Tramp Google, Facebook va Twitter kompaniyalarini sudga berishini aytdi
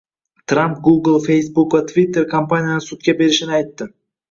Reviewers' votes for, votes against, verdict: 0, 2, rejected